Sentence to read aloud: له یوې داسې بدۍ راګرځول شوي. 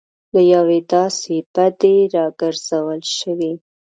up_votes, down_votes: 1, 2